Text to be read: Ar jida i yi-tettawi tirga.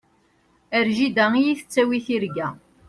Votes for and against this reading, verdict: 2, 0, accepted